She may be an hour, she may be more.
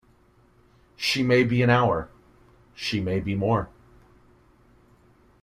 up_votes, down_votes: 2, 0